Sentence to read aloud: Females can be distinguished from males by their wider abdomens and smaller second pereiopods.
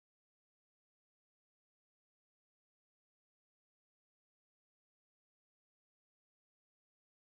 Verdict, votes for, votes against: rejected, 0, 2